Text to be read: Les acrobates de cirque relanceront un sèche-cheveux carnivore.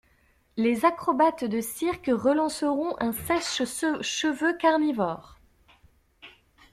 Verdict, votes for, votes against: rejected, 1, 2